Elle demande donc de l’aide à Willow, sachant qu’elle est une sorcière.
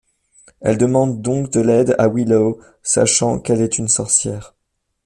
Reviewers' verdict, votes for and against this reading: accepted, 3, 0